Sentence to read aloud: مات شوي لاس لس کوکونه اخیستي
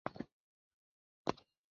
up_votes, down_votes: 0, 2